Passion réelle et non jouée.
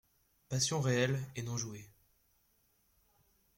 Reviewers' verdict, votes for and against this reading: accepted, 2, 0